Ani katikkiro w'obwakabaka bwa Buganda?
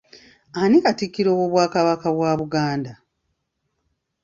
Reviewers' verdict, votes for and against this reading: accepted, 2, 0